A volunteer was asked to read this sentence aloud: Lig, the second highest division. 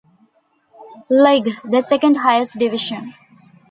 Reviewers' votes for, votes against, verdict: 2, 0, accepted